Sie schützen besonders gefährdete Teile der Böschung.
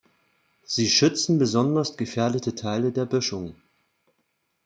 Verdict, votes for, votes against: accepted, 2, 0